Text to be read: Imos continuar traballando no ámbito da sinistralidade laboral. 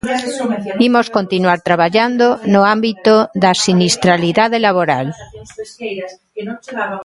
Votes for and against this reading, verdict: 0, 2, rejected